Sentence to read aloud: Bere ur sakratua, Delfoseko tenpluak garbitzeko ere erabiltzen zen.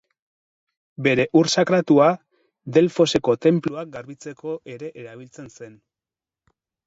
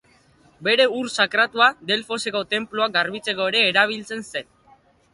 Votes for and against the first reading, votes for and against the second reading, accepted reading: 2, 2, 2, 1, second